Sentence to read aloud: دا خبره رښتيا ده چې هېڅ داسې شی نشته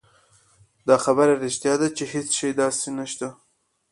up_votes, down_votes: 2, 0